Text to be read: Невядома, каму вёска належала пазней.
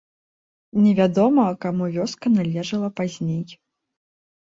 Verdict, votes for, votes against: accepted, 2, 0